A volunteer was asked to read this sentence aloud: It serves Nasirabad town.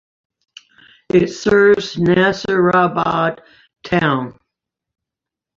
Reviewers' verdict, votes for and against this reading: accepted, 2, 0